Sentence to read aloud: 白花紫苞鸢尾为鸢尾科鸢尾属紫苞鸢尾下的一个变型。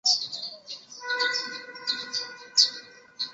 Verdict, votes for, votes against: rejected, 0, 3